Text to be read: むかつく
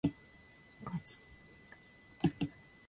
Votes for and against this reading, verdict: 0, 2, rejected